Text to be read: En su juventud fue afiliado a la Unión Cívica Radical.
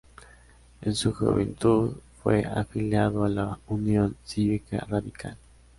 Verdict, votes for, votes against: accepted, 2, 0